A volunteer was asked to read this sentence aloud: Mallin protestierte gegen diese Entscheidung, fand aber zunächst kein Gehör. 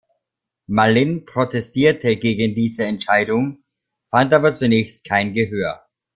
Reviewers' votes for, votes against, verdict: 2, 0, accepted